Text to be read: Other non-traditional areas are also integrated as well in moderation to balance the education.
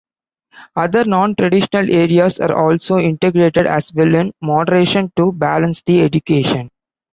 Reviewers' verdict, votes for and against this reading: accepted, 2, 0